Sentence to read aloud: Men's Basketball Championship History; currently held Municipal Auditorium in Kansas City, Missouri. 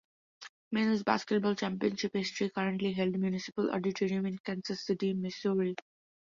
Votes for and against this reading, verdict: 2, 0, accepted